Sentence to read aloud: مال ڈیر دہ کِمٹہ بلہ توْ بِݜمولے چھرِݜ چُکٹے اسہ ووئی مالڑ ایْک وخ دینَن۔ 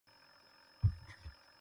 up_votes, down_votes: 0, 2